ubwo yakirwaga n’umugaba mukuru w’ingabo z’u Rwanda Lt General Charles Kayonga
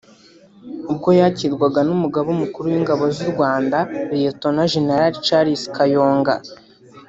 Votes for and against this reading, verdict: 1, 2, rejected